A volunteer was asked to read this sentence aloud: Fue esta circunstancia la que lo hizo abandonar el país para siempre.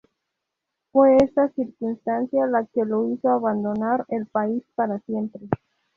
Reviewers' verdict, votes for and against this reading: accepted, 2, 0